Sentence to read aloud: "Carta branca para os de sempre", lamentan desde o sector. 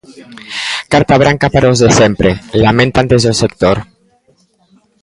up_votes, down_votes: 0, 2